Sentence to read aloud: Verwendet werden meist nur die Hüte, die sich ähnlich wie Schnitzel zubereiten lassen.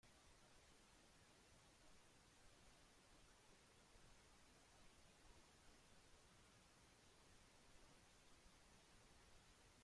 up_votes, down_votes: 0, 2